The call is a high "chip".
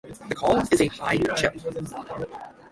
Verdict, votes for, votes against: rejected, 3, 3